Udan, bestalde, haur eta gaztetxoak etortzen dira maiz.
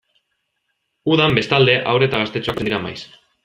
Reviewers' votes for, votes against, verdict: 1, 2, rejected